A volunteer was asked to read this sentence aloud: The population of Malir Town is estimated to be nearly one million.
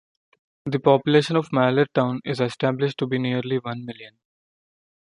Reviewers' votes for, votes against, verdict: 1, 3, rejected